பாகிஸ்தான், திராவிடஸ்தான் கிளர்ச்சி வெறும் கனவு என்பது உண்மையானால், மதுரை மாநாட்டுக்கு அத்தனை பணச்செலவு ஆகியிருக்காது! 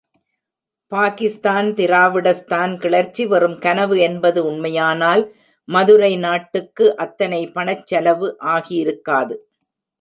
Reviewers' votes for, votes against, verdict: 0, 2, rejected